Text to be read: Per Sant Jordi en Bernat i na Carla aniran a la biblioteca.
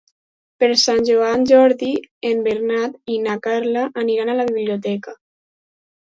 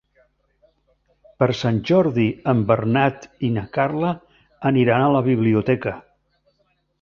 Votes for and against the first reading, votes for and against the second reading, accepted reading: 2, 4, 3, 0, second